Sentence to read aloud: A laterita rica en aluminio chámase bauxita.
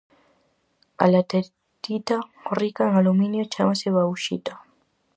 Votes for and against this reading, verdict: 0, 4, rejected